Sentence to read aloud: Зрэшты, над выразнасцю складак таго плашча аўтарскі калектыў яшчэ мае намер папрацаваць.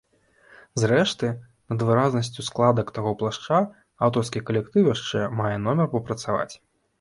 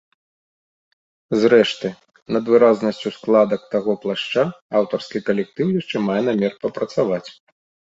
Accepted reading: second